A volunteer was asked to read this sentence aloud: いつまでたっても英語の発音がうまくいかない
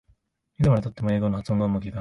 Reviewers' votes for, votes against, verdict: 0, 2, rejected